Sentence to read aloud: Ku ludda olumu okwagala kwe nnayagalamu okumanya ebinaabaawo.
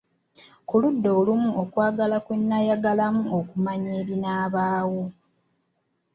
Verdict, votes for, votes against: accepted, 2, 0